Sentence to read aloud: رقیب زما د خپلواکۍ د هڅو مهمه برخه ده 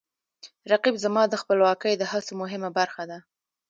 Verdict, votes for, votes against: rejected, 0, 2